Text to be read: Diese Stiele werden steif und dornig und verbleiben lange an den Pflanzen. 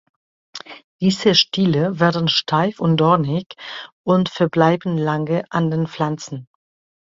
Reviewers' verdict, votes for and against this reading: accepted, 2, 0